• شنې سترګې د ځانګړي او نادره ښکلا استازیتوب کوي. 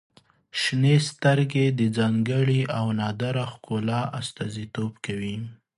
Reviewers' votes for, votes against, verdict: 2, 0, accepted